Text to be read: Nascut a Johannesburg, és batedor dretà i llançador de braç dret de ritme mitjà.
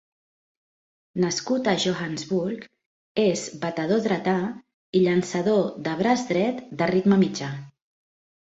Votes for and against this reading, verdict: 3, 0, accepted